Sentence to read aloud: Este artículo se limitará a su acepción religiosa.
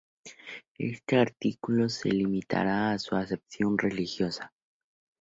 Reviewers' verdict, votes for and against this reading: accepted, 2, 0